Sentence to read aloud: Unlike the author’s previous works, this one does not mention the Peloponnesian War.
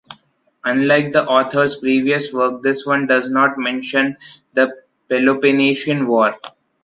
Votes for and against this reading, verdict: 0, 2, rejected